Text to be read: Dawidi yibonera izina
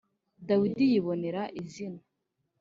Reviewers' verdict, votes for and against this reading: accepted, 3, 0